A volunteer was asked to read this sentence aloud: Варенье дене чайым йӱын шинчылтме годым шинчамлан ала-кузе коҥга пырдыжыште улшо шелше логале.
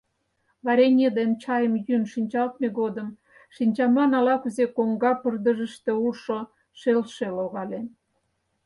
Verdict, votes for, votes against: rejected, 0, 4